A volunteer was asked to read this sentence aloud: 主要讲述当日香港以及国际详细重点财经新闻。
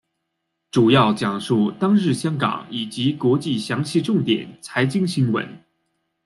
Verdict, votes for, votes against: accepted, 2, 0